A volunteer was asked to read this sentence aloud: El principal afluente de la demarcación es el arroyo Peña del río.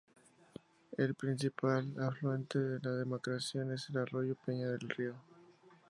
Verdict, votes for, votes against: rejected, 0, 2